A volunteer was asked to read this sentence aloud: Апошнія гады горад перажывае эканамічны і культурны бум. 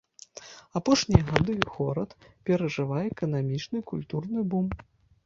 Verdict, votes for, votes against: rejected, 1, 2